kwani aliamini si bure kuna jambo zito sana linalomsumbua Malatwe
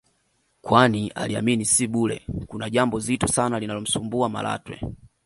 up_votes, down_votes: 2, 1